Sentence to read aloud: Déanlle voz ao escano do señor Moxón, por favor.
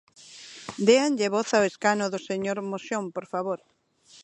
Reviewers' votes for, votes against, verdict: 0, 2, rejected